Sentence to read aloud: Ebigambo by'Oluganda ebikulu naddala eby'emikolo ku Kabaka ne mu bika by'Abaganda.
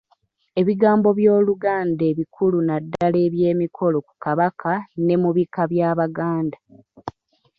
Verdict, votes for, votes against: accepted, 3, 0